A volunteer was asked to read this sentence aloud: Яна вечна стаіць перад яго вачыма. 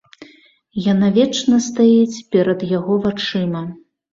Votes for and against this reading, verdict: 2, 0, accepted